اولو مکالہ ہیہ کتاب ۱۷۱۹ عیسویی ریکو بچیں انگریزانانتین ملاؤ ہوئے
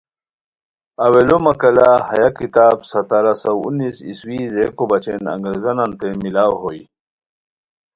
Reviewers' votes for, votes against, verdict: 0, 2, rejected